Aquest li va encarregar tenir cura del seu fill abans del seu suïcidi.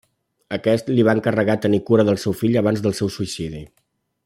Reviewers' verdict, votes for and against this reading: accepted, 3, 0